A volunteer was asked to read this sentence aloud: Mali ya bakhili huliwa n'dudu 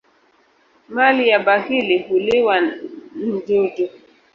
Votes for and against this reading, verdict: 2, 1, accepted